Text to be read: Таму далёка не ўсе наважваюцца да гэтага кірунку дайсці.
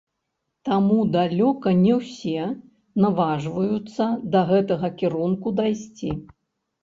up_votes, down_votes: 0, 3